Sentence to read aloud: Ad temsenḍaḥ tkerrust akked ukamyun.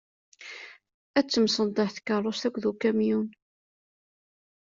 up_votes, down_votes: 2, 0